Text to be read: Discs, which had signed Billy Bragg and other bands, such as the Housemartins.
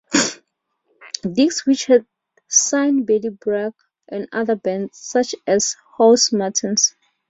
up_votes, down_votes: 0, 2